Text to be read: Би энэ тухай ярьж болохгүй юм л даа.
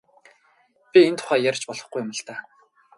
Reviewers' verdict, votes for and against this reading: accepted, 2, 0